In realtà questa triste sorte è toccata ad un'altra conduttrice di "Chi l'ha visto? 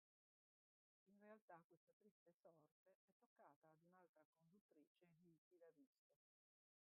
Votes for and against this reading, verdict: 1, 2, rejected